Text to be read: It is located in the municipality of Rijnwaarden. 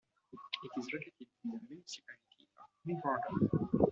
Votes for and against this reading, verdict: 0, 2, rejected